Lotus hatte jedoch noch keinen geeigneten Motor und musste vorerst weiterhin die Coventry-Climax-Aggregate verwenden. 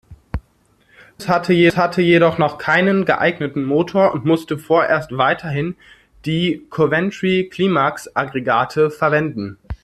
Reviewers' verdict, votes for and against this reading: rejected, 0, 2